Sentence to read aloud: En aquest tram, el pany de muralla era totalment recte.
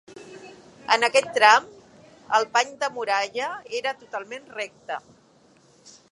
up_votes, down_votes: 3, 1